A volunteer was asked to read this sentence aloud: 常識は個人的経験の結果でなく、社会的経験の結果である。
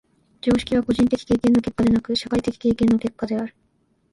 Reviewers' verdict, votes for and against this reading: rejected, 0, 2